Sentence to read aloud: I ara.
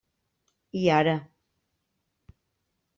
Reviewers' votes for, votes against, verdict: 3, 0, accepted